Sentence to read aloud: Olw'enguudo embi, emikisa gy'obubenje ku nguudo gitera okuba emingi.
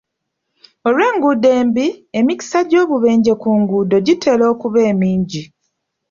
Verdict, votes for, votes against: accepted, 2, 0